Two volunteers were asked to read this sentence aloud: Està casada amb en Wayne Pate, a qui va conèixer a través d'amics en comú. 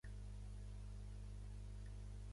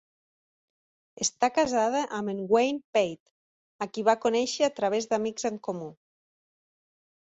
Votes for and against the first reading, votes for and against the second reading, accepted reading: 0, 2, 3, 0, second